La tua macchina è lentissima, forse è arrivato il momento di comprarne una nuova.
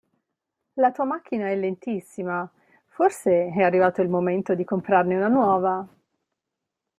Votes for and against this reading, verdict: 2, 0, accepted